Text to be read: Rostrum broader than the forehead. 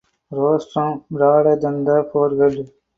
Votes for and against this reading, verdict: 0, 2, rejected